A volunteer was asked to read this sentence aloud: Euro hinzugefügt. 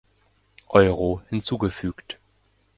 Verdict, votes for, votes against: accepted, 2, 0